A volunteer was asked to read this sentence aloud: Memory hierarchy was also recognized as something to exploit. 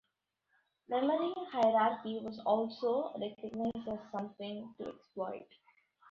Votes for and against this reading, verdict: 1, 2, rejected